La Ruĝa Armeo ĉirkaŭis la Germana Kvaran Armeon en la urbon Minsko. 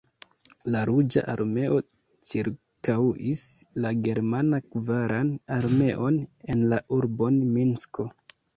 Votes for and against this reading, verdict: 2, 0, accepted